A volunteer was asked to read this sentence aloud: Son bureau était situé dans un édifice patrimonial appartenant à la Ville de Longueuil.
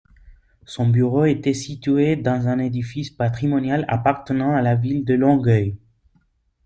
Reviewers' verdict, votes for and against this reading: accepted, 2, 0